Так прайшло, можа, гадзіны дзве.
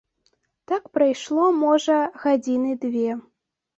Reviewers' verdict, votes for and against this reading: rejected, 0, 2